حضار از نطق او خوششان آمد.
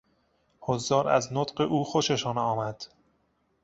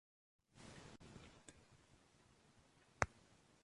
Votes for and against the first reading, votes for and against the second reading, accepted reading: 2, 0, 0, 2, first